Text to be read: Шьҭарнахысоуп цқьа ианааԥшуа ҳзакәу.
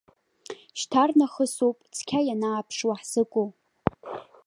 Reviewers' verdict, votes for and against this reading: rejected, 1, 2